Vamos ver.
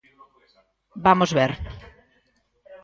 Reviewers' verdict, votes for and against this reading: accepted, 2, 0